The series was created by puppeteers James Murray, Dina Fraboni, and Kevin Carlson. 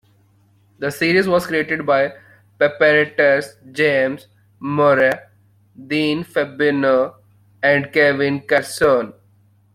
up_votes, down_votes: 0, 2